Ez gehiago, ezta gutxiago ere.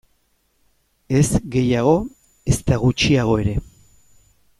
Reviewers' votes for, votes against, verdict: 2, 0, accepted